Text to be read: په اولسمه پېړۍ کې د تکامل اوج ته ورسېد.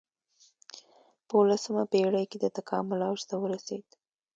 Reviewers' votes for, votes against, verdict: 2, 0, accepted